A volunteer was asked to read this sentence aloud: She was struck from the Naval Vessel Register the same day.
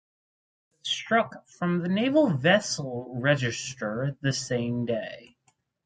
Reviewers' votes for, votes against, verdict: 0, 4, rejected